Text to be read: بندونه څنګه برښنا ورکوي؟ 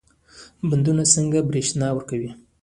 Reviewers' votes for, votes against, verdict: 0, 2, rejected